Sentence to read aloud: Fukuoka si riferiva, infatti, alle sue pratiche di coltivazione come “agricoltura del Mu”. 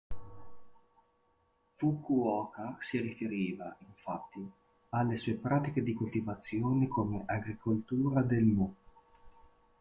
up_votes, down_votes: 1, 2